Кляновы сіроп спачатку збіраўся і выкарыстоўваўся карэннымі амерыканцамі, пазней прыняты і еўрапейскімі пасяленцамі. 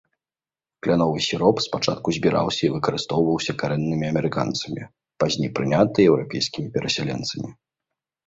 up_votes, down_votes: 0, 2